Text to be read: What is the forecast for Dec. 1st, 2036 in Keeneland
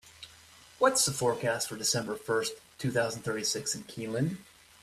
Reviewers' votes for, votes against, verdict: 0, 2, rejected